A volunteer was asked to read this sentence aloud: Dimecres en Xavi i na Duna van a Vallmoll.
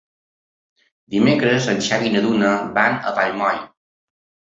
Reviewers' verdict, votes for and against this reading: accepted, 4, 0